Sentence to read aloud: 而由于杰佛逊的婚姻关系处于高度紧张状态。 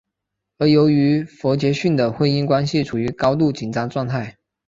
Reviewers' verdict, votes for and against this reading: accepted, 4, 1